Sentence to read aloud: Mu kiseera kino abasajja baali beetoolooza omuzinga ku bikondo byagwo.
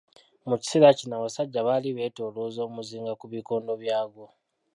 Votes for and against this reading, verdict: 0, 2, rejected